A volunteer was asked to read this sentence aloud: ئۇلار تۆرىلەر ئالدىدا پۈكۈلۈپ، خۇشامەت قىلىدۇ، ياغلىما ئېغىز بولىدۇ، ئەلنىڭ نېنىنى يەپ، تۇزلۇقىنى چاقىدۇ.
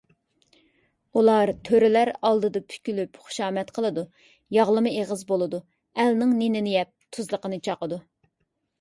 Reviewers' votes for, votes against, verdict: 2, 0, accepted